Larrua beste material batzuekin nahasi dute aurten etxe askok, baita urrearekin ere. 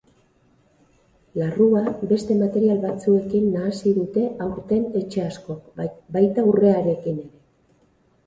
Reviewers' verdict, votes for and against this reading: rejected, 0, 4